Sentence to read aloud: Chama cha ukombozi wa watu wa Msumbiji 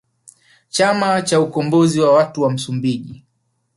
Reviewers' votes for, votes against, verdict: 3, 1, accepted